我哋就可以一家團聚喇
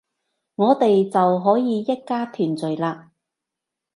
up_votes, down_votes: 2, 0